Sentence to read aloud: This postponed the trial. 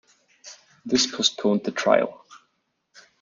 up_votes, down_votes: 2, 0